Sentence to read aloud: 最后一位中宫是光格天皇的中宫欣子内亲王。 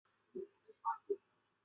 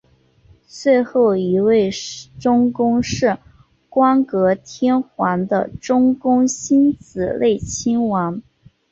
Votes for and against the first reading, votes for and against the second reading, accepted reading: 0, 3, 2, 0, second